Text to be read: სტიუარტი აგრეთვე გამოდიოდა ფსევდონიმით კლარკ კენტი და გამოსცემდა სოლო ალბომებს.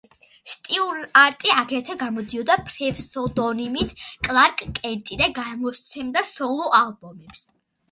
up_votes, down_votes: 0, 2